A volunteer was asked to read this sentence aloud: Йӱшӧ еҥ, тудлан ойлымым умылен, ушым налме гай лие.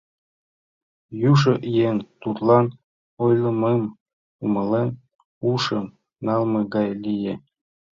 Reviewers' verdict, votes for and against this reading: rejected, 0, 2